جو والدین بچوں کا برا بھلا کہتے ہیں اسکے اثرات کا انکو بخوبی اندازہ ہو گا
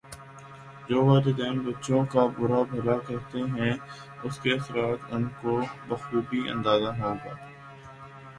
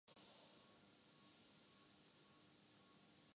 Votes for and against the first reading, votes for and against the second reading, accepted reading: 2, 0, 0, 2, first